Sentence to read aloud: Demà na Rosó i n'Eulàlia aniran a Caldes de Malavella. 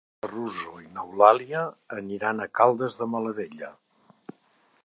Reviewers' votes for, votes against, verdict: 0, 2, rejected